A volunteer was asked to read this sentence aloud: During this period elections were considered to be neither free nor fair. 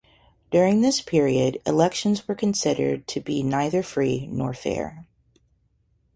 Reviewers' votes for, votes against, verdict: 2, 0, accepted